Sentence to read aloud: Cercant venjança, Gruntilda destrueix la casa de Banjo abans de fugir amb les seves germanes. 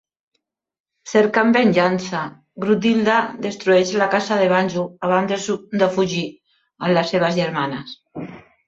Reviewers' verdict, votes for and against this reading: rejected, 2, 3